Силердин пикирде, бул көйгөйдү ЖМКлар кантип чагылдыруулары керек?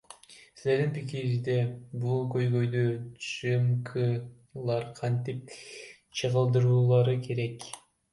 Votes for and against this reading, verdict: 1, 2, rejected